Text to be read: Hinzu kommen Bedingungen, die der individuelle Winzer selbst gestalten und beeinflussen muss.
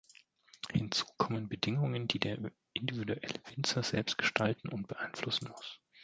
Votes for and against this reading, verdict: 1, 2, rejected